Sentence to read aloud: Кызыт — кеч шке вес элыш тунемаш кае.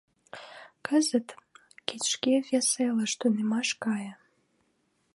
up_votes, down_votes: 2, 1